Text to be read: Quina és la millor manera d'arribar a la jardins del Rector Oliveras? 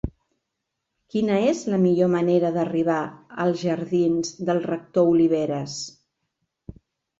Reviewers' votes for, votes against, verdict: 0, 3, rejected